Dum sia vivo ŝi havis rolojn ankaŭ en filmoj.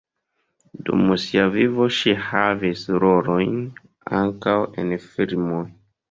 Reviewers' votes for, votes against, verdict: 2, 1, accepted